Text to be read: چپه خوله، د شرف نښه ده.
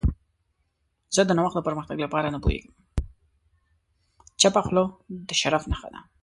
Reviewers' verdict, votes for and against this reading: rejected, 0, 2